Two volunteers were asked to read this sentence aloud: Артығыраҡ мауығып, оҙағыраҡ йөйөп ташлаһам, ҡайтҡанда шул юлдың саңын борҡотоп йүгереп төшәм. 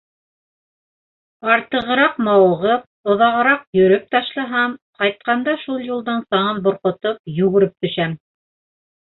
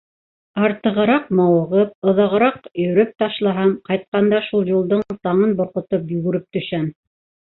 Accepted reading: second